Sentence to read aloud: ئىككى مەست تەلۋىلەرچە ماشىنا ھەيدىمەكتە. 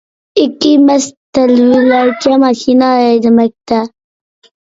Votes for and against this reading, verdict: 2, 0, accepted